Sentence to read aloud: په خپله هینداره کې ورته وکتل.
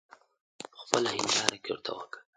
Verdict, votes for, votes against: rejected, 1, 2